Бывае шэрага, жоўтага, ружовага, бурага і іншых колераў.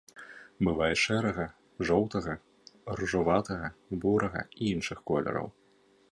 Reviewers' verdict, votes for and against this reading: rejected, 0, 2